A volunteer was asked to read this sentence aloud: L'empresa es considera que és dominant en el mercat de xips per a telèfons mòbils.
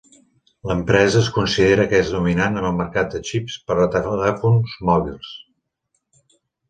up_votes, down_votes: 0, 2